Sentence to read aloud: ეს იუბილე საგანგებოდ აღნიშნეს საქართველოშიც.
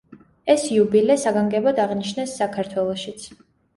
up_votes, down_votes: 2, 0